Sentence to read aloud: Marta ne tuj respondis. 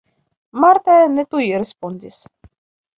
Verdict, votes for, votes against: rejected, 0, 2